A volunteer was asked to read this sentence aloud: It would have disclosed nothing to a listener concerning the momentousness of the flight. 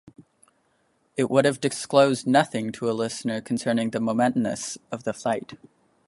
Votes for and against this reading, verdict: 3, 0, accepted